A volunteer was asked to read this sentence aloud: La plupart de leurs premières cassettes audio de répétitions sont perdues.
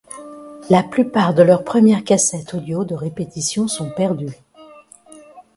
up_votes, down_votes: 1, 2